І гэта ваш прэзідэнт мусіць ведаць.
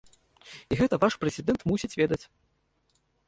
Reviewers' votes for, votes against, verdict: 2, 1, accepted